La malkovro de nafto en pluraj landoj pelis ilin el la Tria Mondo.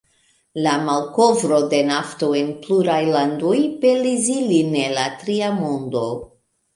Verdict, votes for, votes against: rejected, 1, 2